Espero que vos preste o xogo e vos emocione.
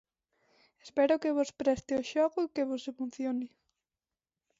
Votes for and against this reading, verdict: 0, 2, rejected